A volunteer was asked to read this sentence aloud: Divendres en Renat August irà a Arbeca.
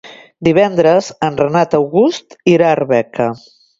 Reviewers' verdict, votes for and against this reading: accepted, 2, 0